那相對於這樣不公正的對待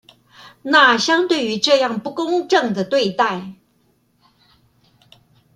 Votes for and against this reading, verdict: 2, 0, accepted